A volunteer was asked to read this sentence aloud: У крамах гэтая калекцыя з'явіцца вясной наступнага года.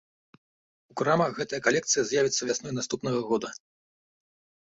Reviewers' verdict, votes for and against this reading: accepted, 2, 0